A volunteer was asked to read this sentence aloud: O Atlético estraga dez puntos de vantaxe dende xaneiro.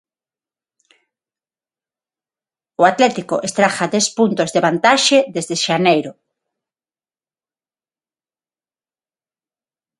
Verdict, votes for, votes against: rejected, 3, 6